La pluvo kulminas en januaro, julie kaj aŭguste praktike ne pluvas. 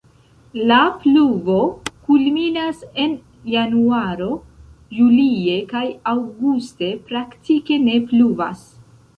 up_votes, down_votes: 0, 2